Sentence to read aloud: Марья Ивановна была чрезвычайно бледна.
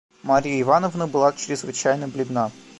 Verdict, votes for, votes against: accepted, 2, 1